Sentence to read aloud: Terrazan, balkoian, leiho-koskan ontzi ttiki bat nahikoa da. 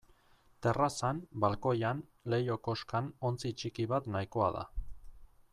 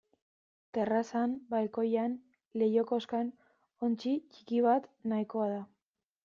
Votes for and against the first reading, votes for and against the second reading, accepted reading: 2, 0, 1, 2, first